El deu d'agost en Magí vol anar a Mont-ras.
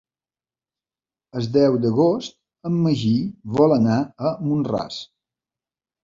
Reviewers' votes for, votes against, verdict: 1, 2, rejected